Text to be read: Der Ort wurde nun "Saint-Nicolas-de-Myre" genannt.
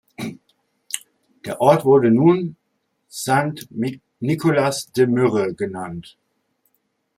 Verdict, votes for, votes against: rejected, 1, 2